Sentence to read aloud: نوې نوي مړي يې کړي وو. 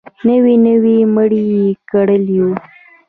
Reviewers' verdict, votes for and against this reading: rejected, 1, 2